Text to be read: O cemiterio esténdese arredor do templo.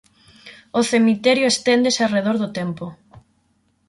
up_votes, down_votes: 0, 6